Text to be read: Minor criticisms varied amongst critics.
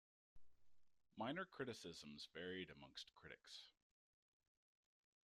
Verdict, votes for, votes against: rejected, 0, 2